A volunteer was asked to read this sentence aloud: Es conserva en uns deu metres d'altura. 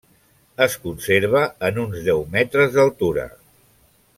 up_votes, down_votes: 3, 1